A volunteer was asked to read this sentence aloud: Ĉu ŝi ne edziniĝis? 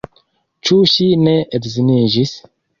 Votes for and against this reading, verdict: 2, 1, accepted